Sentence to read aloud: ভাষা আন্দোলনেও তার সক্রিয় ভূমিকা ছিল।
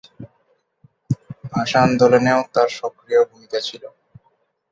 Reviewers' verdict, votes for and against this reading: rejected, 2, 2